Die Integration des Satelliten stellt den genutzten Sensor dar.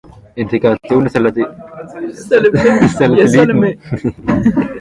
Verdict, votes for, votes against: rejected, 0, 2